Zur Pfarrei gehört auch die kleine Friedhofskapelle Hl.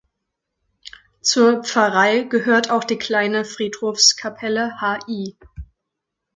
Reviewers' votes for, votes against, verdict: 1, 2, rejected